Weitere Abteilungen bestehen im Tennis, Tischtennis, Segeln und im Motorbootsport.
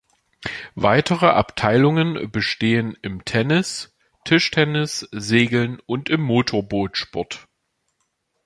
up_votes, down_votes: 2, 0